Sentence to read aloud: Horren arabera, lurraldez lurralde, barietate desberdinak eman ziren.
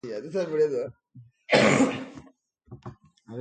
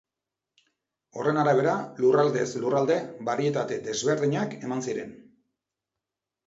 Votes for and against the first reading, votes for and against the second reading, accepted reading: 1, 4, 2, 0, second